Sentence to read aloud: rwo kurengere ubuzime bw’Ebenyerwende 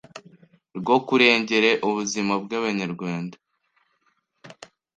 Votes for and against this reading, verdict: 1, 2, rejected